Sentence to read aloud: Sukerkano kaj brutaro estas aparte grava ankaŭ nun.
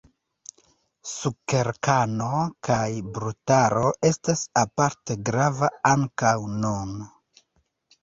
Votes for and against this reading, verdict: 2, 1, accepted